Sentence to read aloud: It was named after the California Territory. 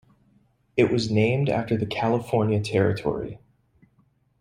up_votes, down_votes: 2, 0